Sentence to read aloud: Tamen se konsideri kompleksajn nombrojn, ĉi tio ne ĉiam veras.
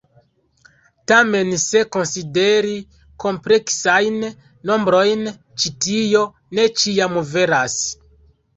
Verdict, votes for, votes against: accepted, 2, 0